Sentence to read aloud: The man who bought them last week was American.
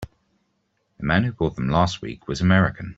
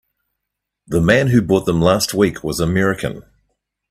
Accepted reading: second